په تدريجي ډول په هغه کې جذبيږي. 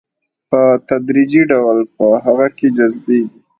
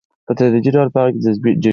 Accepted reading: first